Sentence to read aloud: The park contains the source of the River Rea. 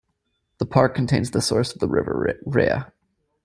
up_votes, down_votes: 0, 2